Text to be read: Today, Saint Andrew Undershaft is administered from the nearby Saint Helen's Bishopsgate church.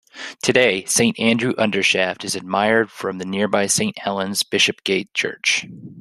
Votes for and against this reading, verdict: 1, 2, rejected